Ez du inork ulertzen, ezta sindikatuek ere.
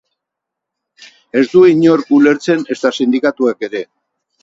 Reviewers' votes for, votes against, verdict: 6, 0, accepted